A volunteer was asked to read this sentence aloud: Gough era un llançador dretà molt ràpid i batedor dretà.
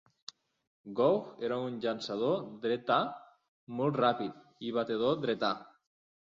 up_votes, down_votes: 3, 0